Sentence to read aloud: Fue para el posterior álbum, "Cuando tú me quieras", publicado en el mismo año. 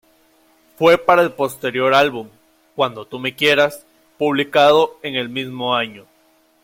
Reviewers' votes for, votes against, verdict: 2, 0, accepted